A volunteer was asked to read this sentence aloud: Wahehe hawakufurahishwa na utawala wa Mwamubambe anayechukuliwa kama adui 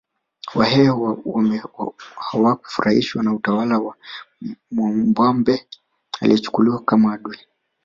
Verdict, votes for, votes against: rejected, 1, 2